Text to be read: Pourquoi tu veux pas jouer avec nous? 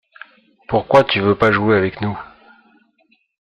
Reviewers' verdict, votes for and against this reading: accepted, 2, 1